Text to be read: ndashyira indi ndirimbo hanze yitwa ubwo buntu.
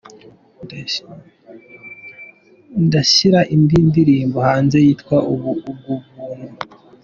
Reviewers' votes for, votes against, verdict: 0, 2, rejected